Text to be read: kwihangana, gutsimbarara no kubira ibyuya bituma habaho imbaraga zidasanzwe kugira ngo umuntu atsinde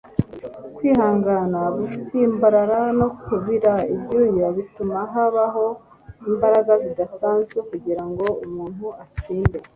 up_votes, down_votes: 2, 0